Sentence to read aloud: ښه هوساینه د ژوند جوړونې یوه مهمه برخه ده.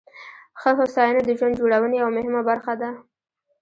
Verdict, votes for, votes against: accepted, 2, 1